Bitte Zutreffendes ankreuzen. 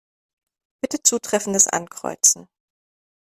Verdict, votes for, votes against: accepted, 2, 0